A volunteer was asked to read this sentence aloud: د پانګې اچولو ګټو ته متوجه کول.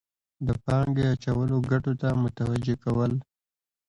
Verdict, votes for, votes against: accepted, 2, 1